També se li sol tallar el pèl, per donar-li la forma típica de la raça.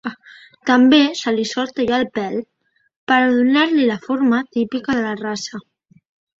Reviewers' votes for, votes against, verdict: 1, 2, rejected